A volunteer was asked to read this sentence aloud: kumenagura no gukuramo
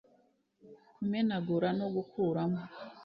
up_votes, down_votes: 2, 0